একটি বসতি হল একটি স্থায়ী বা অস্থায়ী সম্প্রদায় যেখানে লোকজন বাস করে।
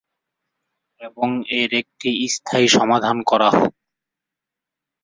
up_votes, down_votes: 0, 2